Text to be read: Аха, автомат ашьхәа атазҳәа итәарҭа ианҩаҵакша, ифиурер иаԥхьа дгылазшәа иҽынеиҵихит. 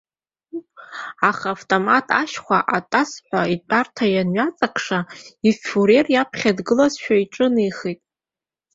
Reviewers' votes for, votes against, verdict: 0, 2, rejected